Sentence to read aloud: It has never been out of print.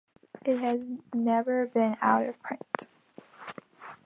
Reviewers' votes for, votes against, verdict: 2, 0, accepted